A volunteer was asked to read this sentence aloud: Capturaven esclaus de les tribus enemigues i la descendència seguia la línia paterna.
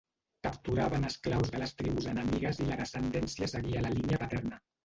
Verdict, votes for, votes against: rejected, 0, 2